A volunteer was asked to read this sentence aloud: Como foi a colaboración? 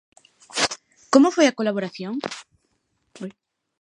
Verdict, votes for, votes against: accepted, 2, 0